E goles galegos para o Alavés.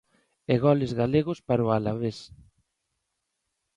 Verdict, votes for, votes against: accepted, 2, 0